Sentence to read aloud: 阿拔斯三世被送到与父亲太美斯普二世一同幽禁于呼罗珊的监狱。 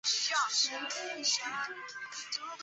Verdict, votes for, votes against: rejected, 0, 3